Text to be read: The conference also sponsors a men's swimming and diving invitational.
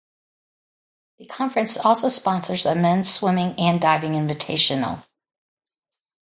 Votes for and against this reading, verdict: 2, 0, accepted